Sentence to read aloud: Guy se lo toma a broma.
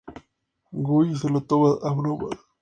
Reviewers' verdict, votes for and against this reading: accepted, 2, 0